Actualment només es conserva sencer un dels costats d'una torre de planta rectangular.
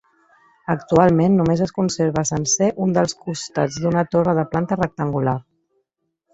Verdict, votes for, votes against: accepted, 2, 0